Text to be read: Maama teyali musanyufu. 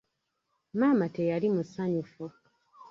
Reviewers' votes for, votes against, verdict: 2, 0, accepted